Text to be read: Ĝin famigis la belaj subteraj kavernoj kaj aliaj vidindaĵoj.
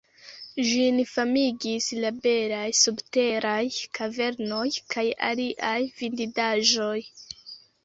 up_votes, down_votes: 0, 2